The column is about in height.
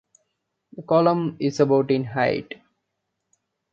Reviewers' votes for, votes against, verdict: 2, 0, accepted